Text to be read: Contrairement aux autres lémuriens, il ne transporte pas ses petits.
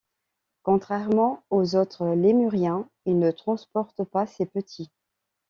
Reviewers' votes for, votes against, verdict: 2, 0, accepted